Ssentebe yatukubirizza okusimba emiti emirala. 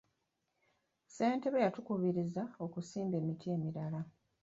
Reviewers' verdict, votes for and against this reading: rejected, 1, 2